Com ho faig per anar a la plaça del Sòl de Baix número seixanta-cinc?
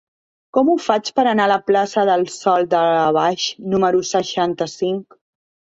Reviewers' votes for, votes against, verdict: 0, 2, rejected